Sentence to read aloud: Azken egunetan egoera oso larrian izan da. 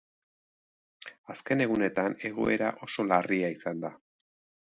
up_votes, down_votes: 0, 2